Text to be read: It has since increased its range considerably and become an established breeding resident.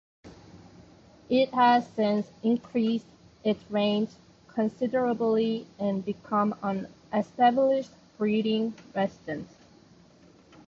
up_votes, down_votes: 2, 1